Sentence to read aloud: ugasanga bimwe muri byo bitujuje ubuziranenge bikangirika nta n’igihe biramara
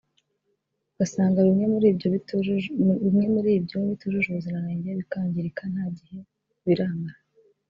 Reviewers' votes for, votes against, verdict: 1, 2, rejected